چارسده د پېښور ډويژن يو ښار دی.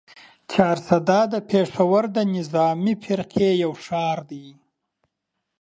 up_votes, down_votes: 0, 2